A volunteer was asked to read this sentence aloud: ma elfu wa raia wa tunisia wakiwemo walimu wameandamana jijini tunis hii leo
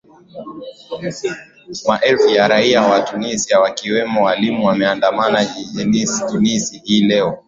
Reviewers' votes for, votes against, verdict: 9, 3, accepted